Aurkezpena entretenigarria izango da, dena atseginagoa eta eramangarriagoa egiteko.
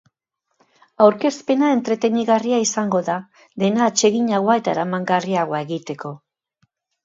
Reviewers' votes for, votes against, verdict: 2, 0, accepted